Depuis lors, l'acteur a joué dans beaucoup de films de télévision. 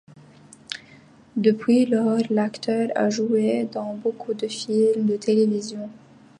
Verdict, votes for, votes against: accepted, 2, 0